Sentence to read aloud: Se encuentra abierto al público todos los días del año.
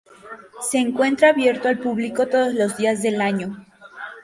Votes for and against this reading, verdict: 2, 0, accepted